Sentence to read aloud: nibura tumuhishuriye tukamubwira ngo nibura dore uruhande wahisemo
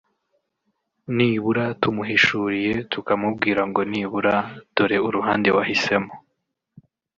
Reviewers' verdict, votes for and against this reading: rejected, 1, 2